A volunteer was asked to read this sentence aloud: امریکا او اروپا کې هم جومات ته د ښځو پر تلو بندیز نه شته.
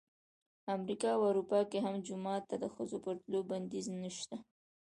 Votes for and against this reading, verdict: 2, 0, accepted